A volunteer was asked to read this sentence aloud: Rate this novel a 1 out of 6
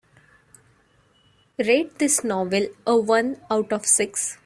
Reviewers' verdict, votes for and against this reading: rejected, 0, 2